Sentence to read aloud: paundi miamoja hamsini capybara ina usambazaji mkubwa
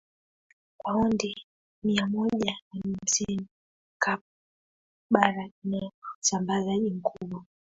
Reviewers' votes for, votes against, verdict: 1, 2, rejected